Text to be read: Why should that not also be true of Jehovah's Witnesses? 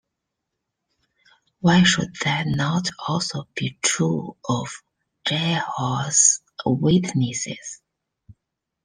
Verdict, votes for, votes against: rejected, 0, 2